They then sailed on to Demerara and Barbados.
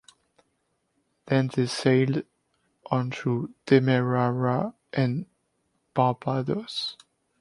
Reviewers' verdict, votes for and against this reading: rejected, 1, 2